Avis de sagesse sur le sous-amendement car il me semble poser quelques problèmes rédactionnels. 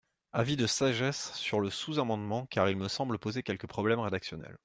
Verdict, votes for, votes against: accepted, 2, 0